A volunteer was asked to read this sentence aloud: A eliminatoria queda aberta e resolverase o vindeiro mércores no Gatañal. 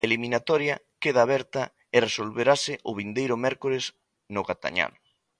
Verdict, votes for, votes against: rejected, 0, 2